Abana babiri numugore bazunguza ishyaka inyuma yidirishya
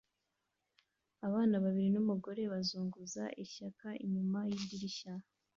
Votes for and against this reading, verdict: 2, 1, accepted